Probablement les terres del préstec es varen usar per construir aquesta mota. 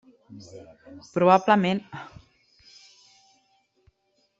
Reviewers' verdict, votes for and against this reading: rejected, 0, 3